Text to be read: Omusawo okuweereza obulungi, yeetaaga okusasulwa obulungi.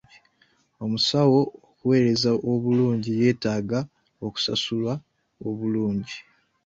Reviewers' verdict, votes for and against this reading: rejected, 0, 2